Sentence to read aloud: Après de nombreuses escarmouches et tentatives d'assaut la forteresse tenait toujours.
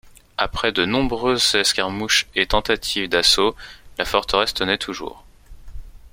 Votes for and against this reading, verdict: 2, 0, accepted